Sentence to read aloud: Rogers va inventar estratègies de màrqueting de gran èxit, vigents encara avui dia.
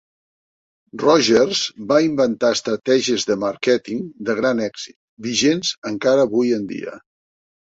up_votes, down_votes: 1, 2